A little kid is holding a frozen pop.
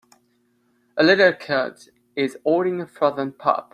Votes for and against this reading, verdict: 0, 2, rejected